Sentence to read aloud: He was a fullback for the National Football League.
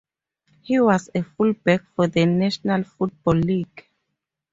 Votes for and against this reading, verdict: 4, 0, accepted